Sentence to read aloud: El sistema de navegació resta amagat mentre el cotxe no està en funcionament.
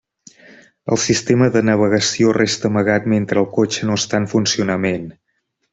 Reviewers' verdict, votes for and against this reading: accepted, 3, 0